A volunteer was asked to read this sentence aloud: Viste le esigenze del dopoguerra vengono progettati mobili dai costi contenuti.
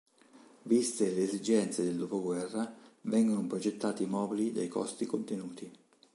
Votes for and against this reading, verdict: 4, 0, accepted